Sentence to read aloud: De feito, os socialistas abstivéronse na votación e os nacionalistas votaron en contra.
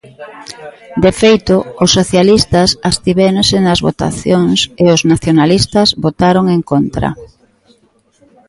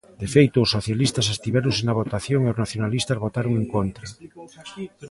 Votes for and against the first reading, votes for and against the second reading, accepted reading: 0, 2, 2, 0, second